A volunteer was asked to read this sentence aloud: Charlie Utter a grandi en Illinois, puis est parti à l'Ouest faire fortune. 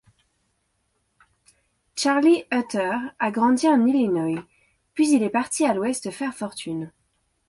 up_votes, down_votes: 0, 2